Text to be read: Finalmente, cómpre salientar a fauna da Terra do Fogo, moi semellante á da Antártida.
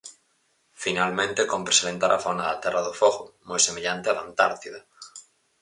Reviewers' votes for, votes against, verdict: 4, 0, accepted